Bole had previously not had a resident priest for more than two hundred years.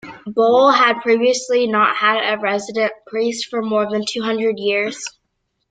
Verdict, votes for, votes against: accepted, 2, 0